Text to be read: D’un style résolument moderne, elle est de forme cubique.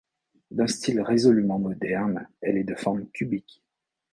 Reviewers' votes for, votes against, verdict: 2, 0, accepted